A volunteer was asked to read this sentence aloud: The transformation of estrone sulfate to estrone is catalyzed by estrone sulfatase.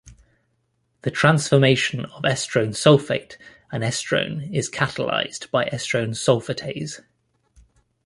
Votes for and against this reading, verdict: 0, 2, rejected